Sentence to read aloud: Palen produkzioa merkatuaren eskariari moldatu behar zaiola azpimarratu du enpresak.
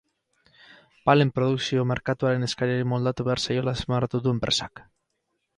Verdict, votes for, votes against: rejected, 0, 2